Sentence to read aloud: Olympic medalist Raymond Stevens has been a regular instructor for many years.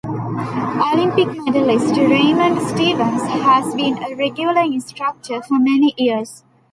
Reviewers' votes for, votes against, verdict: 0, 2, rejected